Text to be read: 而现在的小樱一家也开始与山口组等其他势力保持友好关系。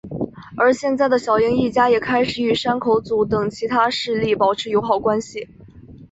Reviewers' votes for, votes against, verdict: 2, 0, accepted